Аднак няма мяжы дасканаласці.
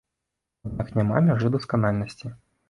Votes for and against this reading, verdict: 0, 2, rejected